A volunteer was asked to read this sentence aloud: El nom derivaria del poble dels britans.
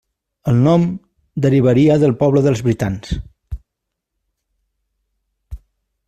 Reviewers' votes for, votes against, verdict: 3, 0, accepted